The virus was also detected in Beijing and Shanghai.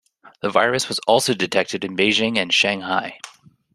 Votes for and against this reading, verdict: 2, 0, accepted